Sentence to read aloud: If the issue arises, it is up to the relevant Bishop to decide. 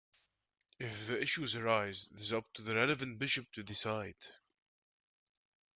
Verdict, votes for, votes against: accepted, 2, 0